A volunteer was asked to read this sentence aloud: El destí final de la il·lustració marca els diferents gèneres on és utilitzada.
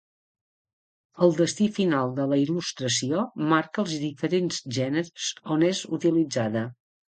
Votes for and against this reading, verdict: 2, 0, accepted